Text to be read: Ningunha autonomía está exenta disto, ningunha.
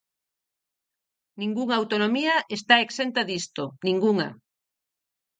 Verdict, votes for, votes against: accepted, 4, 0